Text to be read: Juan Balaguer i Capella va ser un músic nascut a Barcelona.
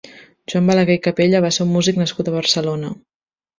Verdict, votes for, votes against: rejected, 1, 2